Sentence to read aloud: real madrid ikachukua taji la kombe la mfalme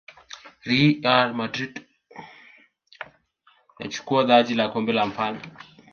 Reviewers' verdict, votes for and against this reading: rejected, 1, 2